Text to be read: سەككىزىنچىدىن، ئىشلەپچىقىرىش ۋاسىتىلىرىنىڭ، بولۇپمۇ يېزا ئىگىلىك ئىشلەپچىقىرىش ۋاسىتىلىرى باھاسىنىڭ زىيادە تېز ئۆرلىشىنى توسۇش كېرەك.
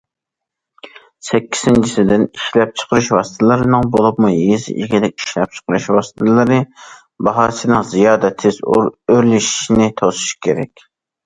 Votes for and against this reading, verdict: 0, 2, rejected